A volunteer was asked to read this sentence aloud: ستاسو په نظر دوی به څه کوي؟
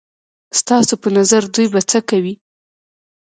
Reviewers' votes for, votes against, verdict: 2, 0, accepted